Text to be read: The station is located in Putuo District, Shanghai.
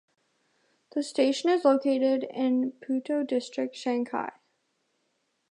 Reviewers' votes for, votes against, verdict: 0, 2, rejected